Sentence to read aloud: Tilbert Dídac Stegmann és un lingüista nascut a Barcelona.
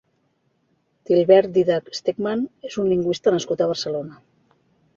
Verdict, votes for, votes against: accepted, 2, 0